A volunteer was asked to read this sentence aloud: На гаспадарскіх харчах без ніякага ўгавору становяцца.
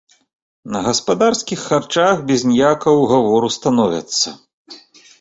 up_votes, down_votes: 2, 0